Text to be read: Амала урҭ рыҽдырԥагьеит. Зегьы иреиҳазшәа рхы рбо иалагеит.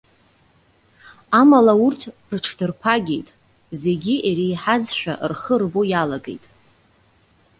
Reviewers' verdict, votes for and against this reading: accepted, 2, 0